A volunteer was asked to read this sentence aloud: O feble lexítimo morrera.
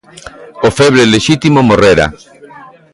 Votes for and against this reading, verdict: 2, 0, accepted